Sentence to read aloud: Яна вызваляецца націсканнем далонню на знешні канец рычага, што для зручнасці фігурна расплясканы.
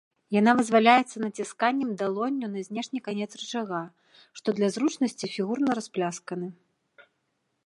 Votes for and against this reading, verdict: 2, 0, accepted